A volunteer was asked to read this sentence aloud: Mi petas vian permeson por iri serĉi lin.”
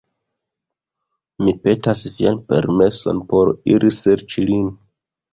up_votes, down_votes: 1, 2